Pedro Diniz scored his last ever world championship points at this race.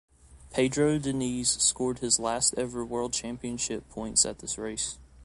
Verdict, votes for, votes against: accepted, 2, 0